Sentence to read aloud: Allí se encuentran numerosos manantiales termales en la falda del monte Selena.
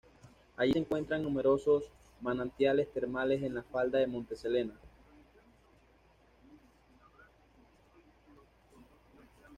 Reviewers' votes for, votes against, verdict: 2, 0, accepted